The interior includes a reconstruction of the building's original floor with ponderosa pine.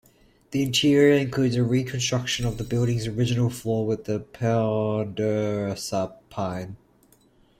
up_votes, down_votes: 0, 2